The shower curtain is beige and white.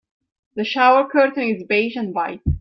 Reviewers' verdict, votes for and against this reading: accepted, 2, 0